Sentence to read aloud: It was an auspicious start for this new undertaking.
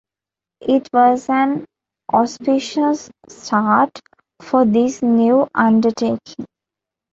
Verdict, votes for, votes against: accepted, 2, 1